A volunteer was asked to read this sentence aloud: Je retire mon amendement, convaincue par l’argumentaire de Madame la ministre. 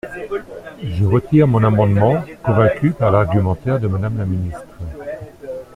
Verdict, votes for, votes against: accepted, 2, 0